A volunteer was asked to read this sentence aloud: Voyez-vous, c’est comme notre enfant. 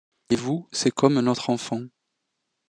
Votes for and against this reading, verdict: 0, 2, rejected